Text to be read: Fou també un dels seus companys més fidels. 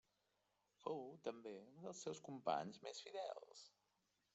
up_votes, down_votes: 1, 2